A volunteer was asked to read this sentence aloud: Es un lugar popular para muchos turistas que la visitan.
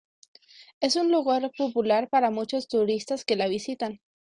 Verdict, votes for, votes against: accepted, 2, 0